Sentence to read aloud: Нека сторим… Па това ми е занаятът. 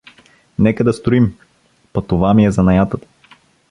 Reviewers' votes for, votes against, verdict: 0, 2, rejected